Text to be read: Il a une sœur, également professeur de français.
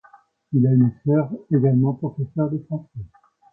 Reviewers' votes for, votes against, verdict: 2, 1, accepted